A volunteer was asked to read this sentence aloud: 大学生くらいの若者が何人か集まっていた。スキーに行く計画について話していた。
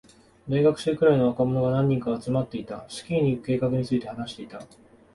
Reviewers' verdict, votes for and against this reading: accepted, 2, 1